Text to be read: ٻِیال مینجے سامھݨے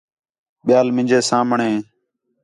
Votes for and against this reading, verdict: 4, 0, accepted